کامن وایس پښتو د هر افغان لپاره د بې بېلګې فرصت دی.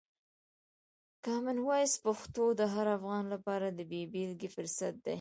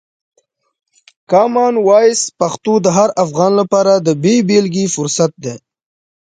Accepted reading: second